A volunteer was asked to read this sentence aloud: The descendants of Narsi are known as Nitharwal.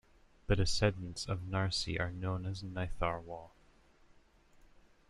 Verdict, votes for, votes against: accepted, 2, 0